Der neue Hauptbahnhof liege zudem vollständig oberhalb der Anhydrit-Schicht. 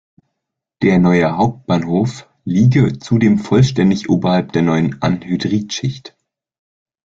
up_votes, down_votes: 0, 2